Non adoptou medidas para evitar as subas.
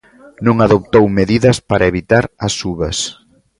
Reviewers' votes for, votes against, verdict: 2, 0, accepted